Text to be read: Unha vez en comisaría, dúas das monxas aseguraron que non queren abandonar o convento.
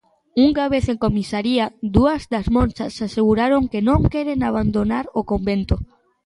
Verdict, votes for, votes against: accepted, 3, 1